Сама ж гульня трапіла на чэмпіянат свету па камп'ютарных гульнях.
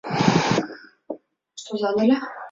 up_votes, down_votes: 0, 2